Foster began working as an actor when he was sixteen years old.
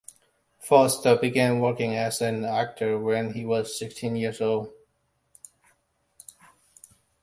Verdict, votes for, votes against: accepted, 2, 1